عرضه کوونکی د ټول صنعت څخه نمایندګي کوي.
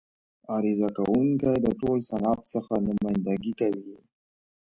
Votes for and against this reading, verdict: 0, 4, rejected